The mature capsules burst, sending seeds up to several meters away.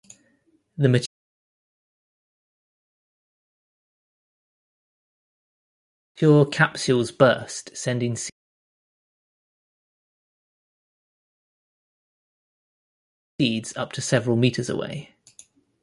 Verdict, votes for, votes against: rejected, 0, 2